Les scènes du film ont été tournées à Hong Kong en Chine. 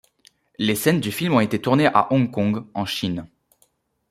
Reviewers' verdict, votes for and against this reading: accepted, 2, 0